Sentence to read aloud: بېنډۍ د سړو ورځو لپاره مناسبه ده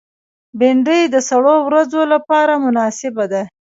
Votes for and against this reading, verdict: 0, 2, rejected